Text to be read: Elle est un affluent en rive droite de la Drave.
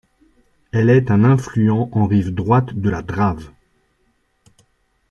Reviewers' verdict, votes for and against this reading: rejected, 1, 2